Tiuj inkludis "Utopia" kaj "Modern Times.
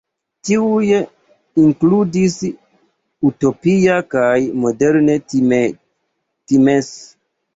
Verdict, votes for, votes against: rejected, 1, 2